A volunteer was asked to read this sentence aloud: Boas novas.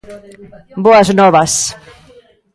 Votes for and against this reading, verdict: 2, 0, accepted